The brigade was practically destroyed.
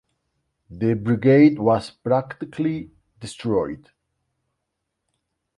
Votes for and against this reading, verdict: 2, 0, accepted